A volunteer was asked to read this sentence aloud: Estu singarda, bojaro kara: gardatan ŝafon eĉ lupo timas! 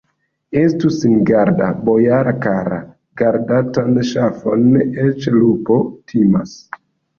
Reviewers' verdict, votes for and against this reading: rejected, 0, 2